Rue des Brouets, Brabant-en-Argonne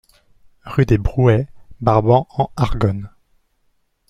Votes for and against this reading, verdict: 2, 0, accepted